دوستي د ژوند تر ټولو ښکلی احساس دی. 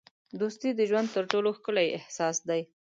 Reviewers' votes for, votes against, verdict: 2, 0, accepted